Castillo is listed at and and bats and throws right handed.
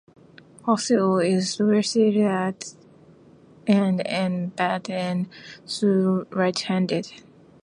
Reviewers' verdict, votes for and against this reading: rejected, 0, 2